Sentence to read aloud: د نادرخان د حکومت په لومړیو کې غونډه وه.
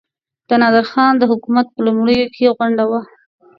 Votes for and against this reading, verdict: 2, 0, accepted